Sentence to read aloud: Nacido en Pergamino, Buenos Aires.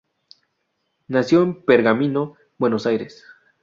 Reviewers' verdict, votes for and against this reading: rejected, 0, 2